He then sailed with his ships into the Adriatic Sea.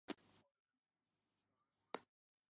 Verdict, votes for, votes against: rejected, 0, 2